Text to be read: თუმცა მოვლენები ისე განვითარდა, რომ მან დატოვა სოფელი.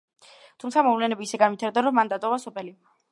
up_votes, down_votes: 1, 2